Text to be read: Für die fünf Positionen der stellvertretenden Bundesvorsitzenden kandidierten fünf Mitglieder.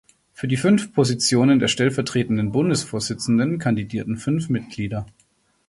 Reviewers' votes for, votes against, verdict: 2, 0, accepted